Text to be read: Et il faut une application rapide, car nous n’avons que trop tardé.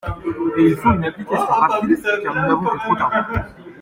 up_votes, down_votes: 0, 2